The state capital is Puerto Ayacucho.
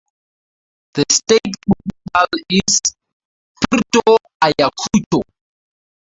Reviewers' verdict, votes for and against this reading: rejected, 0, 4